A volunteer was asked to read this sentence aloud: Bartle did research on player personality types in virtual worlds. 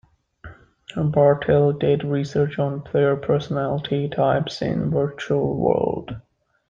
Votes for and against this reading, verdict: 1, 2, rejected